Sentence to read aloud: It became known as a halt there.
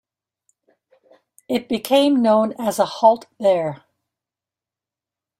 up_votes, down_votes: 2, 0